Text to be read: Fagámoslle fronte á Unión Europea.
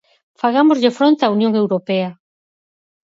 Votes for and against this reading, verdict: 4, 0, accepted